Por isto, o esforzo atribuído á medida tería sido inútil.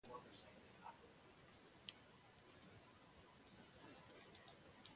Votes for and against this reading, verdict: 0, 2, rejected